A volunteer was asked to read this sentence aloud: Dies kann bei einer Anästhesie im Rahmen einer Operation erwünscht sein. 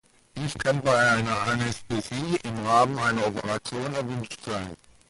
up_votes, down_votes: 2, 0